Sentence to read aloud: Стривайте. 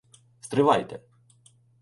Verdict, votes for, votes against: accepted, 2, 0